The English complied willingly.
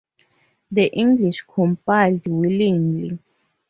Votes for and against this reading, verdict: 4, 0, accepted